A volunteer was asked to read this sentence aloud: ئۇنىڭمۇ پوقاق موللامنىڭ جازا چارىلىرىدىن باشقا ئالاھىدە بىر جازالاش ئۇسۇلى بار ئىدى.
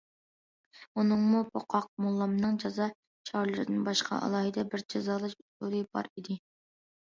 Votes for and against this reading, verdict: 2, 0, accepted